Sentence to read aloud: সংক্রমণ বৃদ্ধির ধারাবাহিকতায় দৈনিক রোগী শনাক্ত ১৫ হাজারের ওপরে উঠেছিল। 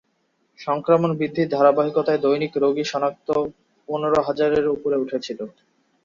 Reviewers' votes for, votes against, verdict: 0, 2, rejected